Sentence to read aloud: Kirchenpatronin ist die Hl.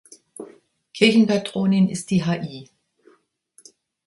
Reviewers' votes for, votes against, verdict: 1, 2, rejected